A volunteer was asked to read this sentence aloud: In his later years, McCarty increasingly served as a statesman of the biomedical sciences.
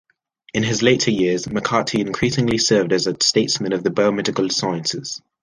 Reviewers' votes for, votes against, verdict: 2, 0, accepted